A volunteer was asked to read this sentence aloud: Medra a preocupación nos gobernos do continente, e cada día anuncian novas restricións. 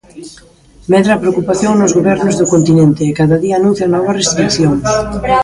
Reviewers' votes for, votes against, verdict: 1, 2, rejected